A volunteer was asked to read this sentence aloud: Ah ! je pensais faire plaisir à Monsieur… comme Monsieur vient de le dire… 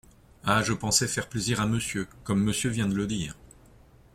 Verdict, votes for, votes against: accepted, 2, 0